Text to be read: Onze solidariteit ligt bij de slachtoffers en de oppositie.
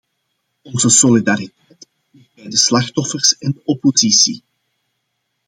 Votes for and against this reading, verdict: 0, 2, rejected